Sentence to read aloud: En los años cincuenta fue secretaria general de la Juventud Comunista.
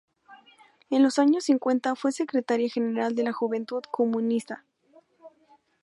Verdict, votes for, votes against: accepted, 2, 0